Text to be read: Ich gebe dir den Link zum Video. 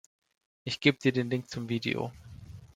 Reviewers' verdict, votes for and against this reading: rejected, 1, 2